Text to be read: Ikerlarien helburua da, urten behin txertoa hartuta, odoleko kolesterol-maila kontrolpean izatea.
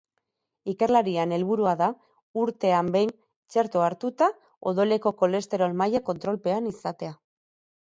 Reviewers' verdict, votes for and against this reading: rejected, 0, 4